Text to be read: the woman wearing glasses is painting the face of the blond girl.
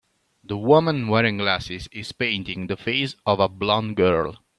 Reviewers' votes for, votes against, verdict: 2, 1, accepted